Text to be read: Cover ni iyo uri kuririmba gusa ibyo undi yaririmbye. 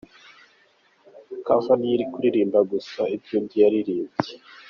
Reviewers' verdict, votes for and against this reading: accepted, 2, 0